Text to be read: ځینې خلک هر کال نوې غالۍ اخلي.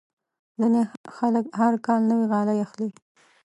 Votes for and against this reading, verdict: 1, 2, rejected